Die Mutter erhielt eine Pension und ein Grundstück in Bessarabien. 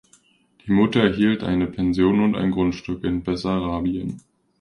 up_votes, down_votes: 2, 0